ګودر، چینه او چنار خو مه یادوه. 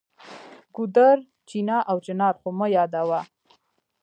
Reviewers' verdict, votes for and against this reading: accepted, 2, 0